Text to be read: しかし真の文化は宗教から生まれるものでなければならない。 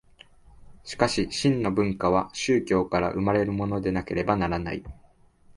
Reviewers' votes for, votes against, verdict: 2, 0, accepted